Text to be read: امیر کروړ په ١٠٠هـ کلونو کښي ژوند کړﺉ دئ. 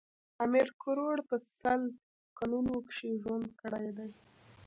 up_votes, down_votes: 0, 2